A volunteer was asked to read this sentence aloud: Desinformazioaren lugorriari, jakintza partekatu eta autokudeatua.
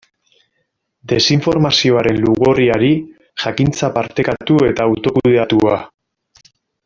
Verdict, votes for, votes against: accepted, 2, 1